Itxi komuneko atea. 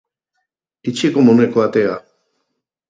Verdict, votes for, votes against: accepted, 4, 0